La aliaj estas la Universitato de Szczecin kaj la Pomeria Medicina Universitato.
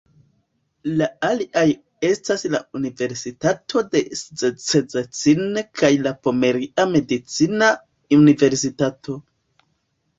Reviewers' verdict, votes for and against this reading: accepted, 2, 0